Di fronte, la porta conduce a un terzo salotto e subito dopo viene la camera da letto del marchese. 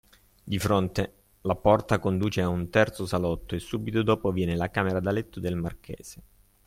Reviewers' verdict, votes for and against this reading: accepted, 2, 0